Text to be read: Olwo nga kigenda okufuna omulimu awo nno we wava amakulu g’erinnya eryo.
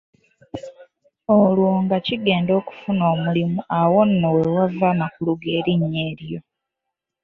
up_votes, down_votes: 0, 2